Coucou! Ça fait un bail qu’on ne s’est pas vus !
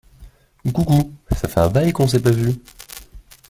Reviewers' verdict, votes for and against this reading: rejected, 0, 2